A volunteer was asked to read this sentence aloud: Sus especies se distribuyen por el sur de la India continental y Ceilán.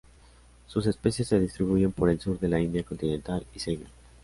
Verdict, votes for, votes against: accepted, 2, 0